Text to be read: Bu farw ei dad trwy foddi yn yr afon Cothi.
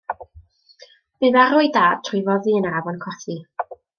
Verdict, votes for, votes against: accepted, 2, 0